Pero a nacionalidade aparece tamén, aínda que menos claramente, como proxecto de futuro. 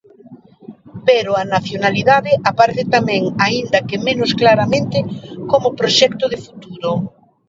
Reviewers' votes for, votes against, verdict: 2, 1, accepted